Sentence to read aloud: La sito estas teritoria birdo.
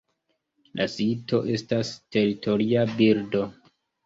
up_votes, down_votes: 2, 0